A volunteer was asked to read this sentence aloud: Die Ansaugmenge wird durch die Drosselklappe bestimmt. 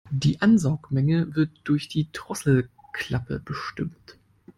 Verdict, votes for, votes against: accepted, 2, 0